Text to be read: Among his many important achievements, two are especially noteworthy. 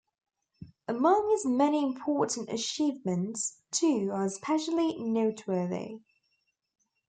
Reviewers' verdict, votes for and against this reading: accepted, 2, 0